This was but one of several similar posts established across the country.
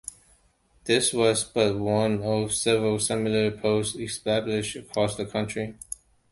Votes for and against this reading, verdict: 2, 0, accepted